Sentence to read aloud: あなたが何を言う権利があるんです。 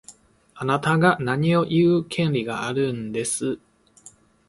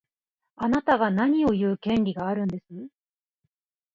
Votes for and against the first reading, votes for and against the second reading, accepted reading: 1, 2, 2, 0, second